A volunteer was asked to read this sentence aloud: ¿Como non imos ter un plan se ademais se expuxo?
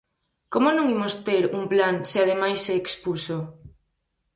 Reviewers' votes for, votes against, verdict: 4, 0, accepted